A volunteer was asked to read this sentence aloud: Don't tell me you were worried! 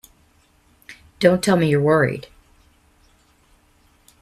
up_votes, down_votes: 1, 3